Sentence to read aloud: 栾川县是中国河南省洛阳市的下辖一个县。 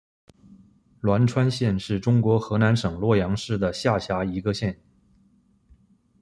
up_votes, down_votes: 2, 0